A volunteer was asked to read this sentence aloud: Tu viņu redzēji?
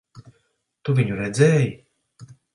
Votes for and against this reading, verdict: 2, 0, accepted